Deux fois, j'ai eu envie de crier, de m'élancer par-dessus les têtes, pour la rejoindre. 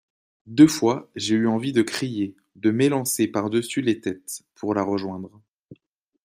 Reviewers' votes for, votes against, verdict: 2, 0, accepted